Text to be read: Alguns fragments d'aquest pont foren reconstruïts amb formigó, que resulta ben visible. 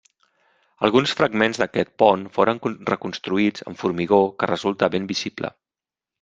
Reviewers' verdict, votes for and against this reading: accepted, 3, 0